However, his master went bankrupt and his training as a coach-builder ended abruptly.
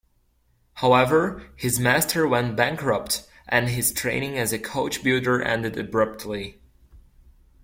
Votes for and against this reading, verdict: 2, 0, accepted